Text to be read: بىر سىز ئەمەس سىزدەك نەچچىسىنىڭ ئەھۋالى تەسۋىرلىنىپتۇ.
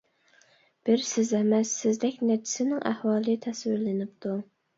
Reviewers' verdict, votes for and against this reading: accepted, 2, 0